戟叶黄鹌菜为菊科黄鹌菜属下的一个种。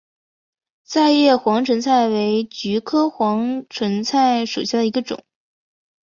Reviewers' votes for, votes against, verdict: 2, 0, accepted